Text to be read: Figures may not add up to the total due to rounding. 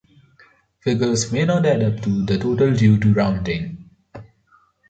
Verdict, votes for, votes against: accepted, 2, 0